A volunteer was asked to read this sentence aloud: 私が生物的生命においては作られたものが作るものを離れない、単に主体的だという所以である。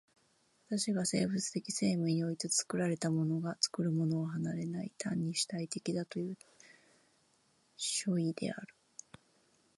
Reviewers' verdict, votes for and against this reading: rejected, 6, 10